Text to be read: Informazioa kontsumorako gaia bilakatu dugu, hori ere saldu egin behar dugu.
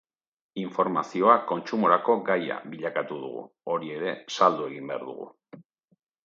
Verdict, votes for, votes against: accepted, 4, 0